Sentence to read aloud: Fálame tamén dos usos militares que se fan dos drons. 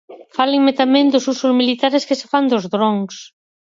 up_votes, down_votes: 2, 4